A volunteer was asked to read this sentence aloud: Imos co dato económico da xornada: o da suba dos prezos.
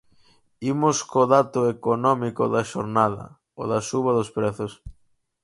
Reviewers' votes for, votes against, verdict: 4, 0, accepted